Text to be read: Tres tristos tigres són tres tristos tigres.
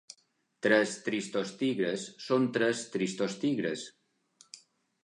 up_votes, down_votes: 3, 0